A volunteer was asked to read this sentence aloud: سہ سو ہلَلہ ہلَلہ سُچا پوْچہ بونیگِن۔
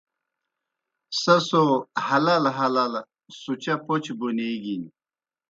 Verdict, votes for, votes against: accepted, 2, 0